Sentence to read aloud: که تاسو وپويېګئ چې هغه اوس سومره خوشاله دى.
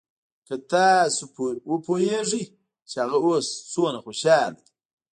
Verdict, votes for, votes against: accepted, 2, 0